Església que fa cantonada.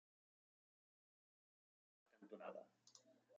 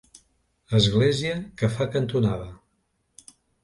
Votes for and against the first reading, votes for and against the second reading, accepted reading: 0, 2, 3, 0, second